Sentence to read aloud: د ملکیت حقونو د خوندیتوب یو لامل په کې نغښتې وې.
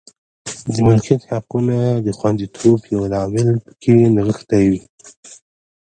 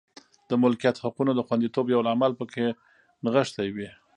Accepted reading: second